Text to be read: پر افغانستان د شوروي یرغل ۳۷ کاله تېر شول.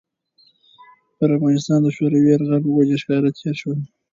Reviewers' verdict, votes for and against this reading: rejected, 0, 2